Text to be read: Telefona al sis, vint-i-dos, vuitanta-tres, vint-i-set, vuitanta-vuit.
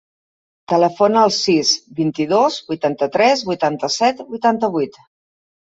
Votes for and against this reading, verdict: 1, 2, rejected